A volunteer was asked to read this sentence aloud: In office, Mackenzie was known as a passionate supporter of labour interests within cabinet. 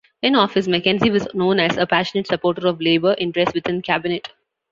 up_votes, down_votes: 2, 0